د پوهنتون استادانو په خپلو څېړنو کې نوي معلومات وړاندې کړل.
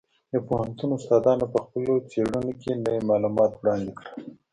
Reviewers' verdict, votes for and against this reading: accepted, 2, 0